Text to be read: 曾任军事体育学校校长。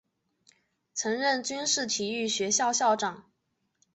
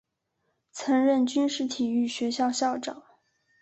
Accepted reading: second